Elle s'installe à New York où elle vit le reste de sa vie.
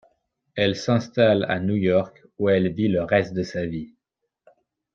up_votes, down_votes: 2, 0